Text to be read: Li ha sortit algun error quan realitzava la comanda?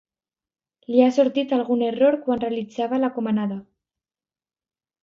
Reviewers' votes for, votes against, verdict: 0, 2, rejected